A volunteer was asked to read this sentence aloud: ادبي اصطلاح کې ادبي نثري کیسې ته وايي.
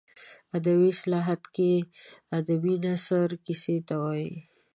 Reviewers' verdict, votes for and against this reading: rejected, 0, 2